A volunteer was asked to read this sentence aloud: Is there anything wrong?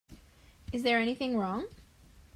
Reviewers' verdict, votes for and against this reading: accepted, 2, 0